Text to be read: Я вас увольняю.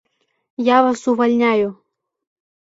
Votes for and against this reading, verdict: 0, 2, rejected